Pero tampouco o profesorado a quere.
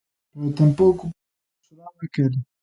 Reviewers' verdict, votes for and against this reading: rejected, 0, 2